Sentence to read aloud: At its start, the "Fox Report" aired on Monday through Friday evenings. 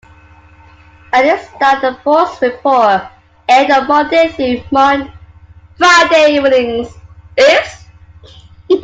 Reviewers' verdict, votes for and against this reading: accepted, 2, 1